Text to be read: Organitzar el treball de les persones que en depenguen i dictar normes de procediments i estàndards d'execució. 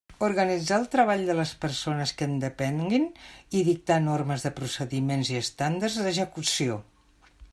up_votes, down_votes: 0, 2